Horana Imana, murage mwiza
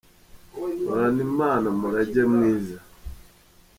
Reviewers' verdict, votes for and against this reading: accepted, 2, 0